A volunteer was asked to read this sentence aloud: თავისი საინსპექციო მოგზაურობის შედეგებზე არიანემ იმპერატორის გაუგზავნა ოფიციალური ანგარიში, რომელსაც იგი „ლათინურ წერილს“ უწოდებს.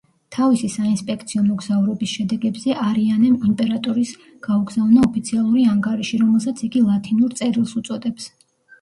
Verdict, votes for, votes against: rejected, 0, 2